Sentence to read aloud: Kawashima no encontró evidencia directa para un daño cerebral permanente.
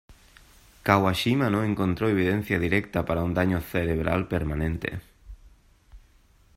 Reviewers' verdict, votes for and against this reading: accepted, 2, 0